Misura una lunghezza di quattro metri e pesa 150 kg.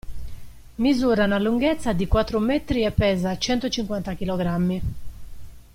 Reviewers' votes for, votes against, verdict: 0, 2, rejected